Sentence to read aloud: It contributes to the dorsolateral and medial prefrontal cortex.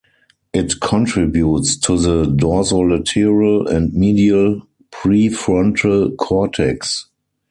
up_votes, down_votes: 4, 0